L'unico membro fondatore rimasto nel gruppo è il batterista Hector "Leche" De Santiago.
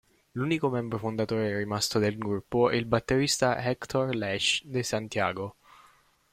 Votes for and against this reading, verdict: 1, 2, rejected